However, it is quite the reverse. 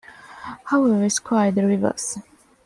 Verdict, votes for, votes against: accepted, 2, 1